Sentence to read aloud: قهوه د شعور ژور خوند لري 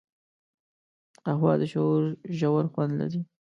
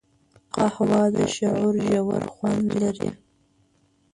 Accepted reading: first